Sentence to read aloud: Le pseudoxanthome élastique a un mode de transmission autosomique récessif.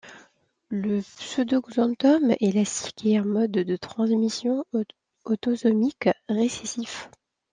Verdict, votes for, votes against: rejected, 1, 2